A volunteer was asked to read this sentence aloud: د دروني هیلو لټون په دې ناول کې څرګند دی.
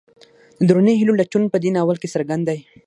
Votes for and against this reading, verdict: 6, 3, accepted